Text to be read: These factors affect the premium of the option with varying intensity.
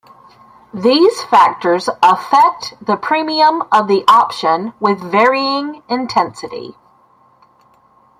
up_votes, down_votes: 0, 2